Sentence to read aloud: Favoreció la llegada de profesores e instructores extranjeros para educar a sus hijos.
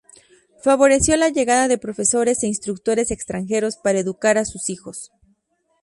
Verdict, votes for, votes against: accepted, 2, 0